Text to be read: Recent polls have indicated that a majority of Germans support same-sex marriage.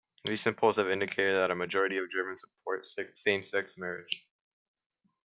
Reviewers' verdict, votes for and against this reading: rejected, 1, 2